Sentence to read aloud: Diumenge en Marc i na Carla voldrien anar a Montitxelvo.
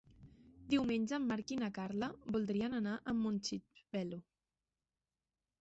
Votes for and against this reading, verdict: 0, 2, rejected